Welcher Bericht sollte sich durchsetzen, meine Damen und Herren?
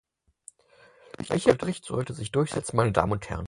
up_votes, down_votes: 2, 4